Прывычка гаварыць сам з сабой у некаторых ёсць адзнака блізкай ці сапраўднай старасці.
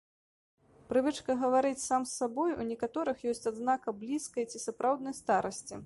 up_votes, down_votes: 2, 0